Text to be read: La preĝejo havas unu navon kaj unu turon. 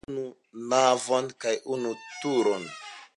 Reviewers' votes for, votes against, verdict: 0, 2, rejected